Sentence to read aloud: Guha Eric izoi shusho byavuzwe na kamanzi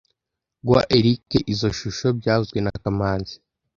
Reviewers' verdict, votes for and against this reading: accepted, 2, 0